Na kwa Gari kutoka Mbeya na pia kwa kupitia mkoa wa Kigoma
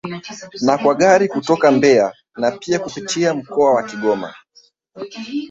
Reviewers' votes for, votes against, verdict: 1, 2, rejected